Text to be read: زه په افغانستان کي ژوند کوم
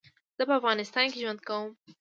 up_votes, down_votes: 2, 1